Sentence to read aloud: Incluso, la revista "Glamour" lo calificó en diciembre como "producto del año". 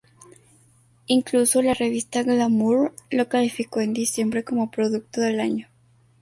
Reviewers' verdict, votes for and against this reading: rejected, 2, 2